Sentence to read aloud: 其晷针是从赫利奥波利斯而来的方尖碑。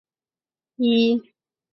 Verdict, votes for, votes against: rejected, 0, 3